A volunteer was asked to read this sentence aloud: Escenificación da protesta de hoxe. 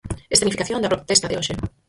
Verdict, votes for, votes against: rejected, 0, 4